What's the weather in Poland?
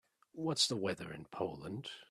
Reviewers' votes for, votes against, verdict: 4, 0, accepted